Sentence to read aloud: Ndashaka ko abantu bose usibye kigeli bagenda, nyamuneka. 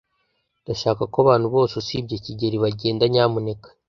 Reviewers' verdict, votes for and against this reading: accepted, 2, 0